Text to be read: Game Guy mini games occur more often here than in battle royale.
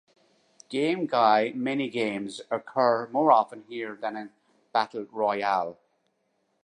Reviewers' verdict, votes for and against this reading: rejected, 1, 2